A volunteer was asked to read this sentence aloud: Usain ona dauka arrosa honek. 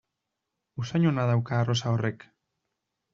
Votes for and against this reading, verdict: 1, 2, rejected